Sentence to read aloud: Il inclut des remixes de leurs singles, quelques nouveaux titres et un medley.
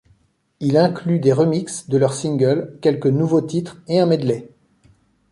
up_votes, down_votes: 3, 0